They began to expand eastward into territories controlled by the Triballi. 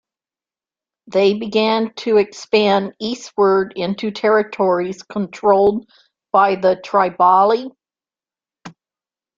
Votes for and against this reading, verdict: 1, 2, rejected